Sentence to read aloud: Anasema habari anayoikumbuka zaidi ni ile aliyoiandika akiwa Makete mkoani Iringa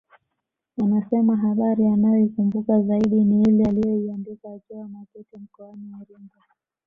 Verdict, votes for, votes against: accepted, 2, 0